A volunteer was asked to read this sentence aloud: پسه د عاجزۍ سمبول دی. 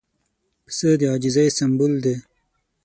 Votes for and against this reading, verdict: 6, 0, accepted